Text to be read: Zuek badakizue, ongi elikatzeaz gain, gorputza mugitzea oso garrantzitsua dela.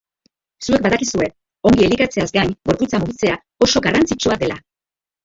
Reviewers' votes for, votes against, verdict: 0, 3, rejected